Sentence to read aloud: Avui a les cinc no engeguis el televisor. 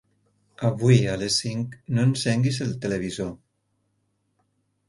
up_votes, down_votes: 0, 4